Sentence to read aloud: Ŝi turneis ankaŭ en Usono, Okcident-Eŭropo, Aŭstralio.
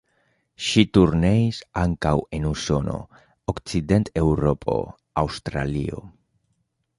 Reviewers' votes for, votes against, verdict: 2, 0, accepted